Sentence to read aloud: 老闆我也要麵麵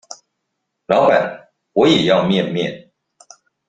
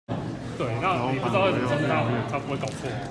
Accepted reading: first